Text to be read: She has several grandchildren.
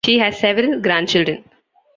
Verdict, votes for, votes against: accepted, 2, 0